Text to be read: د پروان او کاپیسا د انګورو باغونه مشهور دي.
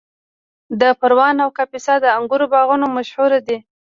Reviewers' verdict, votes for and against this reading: rejected, 1, 2